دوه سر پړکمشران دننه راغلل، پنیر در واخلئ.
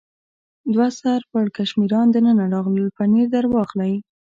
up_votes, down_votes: 2, 1